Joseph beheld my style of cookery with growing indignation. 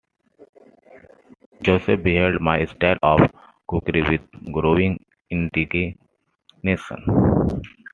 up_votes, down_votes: 0, 2